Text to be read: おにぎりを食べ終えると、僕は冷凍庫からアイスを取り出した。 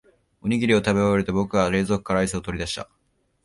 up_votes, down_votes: 2, 0